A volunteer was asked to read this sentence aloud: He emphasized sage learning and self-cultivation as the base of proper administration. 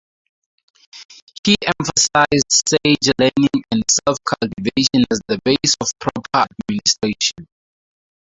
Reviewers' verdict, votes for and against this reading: rejected, 0, 2